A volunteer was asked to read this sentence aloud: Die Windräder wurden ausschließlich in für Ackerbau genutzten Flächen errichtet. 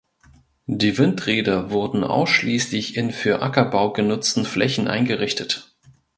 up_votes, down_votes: 0, 2